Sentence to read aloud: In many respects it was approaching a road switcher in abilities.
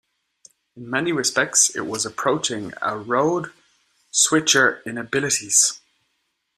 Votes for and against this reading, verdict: 2, 0, accepted